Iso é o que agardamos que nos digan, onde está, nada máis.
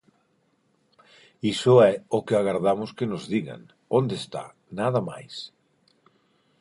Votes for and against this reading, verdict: 4, 0, accepted